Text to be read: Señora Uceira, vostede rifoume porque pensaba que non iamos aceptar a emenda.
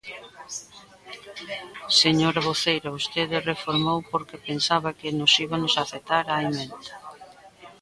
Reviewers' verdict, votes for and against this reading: rejected, 0, 2